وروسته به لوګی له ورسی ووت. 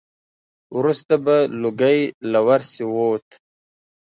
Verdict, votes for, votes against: accepted, 2, 1